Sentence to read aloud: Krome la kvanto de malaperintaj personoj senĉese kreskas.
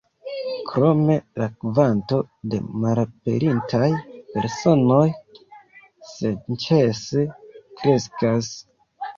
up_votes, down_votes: 2, 0